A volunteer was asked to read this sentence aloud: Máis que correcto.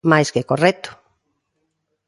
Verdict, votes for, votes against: accepted, 2, 0